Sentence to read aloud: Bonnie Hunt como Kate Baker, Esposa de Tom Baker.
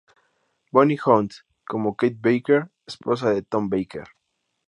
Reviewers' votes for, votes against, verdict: 2, 0, accepted